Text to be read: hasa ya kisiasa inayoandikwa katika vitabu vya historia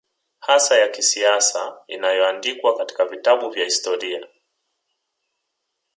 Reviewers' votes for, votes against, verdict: 2, 0, accepted